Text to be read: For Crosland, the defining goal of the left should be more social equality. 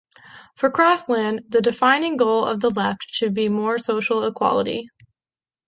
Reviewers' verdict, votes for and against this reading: accepted, 3, 2